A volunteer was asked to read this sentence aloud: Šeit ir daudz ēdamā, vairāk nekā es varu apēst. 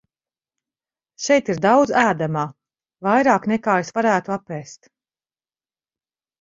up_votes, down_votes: 0, 4